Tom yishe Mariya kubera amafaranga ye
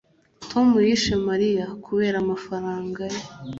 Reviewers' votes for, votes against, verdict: 2, 0, accepted